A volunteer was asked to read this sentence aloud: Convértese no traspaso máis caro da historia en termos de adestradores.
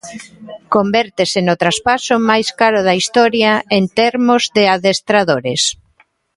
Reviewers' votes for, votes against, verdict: 1, 2, rejected